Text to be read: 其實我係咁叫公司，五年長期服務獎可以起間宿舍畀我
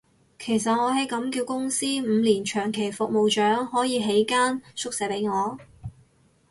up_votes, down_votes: 0, 2